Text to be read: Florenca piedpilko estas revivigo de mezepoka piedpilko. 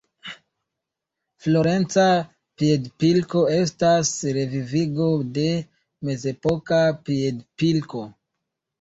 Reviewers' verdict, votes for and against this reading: accepted, 2, 0